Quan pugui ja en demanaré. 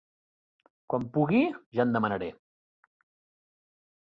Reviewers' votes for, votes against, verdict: 4, 0, accepted